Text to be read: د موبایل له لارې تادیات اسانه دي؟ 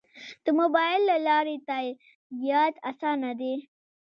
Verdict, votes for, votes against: accepted, 2, 0